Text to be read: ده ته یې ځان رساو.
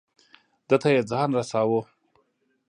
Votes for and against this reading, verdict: 2, 0, accepted